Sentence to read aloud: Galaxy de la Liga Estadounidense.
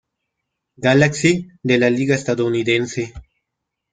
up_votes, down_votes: 2, 0